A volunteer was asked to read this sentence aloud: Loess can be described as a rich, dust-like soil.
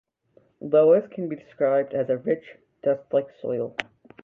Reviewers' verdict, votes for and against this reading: accepted, 2, 0